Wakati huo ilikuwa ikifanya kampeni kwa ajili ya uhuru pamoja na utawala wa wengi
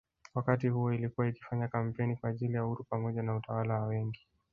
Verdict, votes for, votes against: rejected, 1, 2